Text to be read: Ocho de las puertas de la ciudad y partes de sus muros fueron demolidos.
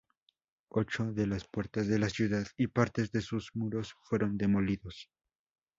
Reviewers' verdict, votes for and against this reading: rejected, 0, 2